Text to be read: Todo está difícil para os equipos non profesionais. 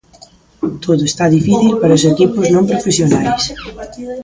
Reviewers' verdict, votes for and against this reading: rejected, 0, 2